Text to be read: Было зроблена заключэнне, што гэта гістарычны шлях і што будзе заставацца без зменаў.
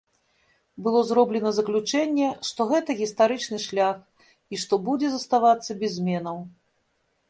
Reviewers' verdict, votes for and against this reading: rejected, 1, 2